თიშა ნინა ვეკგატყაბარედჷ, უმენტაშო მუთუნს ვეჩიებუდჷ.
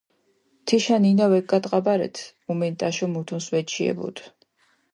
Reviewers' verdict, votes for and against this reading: accepted, 2, 0